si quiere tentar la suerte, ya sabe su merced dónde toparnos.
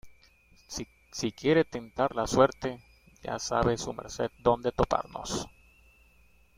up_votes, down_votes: 2, 1